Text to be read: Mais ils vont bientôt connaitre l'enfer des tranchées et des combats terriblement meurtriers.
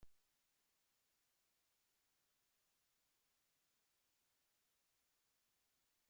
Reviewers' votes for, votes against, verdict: 0, 2, rejected